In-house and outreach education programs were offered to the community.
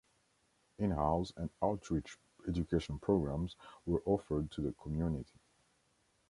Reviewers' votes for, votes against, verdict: 1, 2, rejected